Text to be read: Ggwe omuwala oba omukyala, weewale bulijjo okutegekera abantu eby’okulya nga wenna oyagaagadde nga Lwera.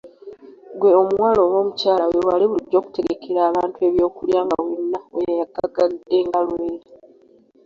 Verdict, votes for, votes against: accepted, 2, 0